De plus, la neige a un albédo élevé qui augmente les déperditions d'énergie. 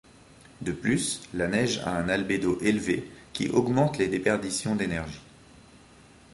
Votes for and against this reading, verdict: 2, 0, accepted